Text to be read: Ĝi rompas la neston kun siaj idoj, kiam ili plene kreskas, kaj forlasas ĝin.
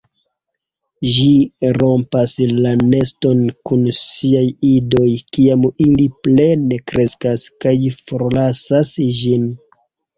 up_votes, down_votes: 1, 2